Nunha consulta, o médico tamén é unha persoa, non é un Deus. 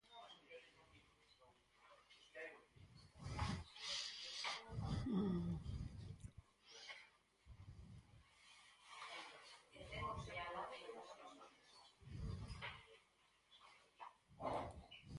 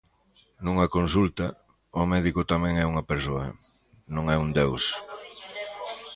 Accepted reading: second